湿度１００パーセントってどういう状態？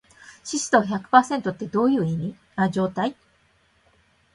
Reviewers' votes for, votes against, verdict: 0, 2, rejected